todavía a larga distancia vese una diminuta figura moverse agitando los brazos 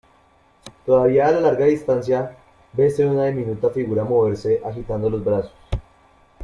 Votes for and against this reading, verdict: 1, 2, rejected